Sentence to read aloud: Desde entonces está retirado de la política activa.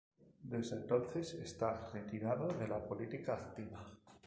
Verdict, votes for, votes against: rejected, 0, 2